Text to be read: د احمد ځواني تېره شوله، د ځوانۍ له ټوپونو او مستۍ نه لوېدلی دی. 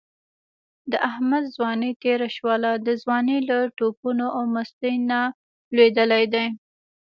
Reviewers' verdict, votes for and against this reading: rejected, 0, 2